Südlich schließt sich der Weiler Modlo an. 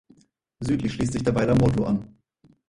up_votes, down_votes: 2, 4